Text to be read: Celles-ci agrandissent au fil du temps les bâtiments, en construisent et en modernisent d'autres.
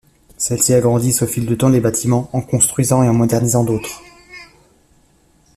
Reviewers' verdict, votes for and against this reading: rejected, 0, 2